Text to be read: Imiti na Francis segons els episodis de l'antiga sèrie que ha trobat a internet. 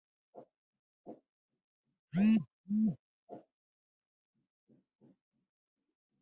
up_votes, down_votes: 0, 2